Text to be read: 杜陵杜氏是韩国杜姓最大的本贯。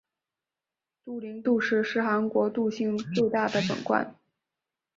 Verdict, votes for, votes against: rejected, 1, 2